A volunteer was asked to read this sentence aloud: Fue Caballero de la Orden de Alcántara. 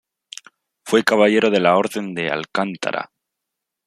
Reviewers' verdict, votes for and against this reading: rejected, 1, 2